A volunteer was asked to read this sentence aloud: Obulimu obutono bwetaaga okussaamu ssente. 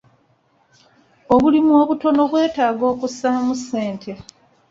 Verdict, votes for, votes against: accepted, 2, 0